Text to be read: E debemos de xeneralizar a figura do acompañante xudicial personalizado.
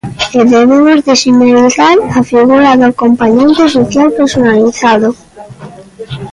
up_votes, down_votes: 0, 2